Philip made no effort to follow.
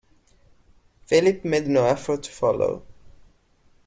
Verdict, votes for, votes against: accepted, 2, 0